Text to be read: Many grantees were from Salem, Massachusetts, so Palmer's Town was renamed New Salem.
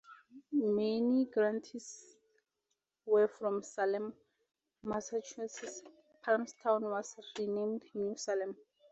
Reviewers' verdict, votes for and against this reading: rejected, 0, 4